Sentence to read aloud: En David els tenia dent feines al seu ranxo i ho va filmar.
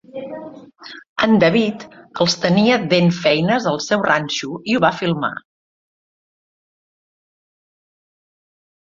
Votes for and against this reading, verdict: 2, 1, accepted